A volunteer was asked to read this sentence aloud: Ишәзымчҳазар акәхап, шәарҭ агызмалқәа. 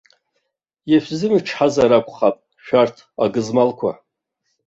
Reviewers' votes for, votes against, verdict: 2, 0, accepted